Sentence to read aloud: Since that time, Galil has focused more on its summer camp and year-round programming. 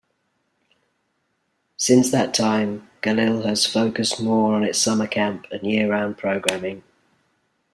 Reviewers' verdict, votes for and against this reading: rejected, 1, 2